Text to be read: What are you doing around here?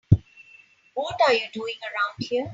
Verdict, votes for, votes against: rejected, 2, 3